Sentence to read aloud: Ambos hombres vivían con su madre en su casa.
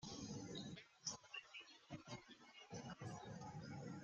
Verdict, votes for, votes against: rejected, 0, 2